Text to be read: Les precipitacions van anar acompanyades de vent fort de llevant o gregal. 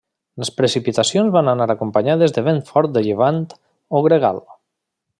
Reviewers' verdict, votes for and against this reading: accepted, 3, 0